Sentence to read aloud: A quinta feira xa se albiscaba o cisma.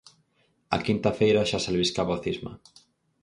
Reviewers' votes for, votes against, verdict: 4, 0, accepted